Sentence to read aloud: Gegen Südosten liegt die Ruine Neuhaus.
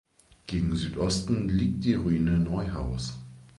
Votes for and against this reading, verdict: 2, 0, accepted